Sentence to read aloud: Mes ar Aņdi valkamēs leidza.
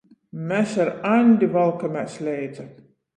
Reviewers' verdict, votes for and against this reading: accepted, 14, 0